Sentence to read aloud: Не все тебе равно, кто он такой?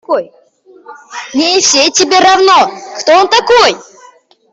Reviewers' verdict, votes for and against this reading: rejected, 0, 2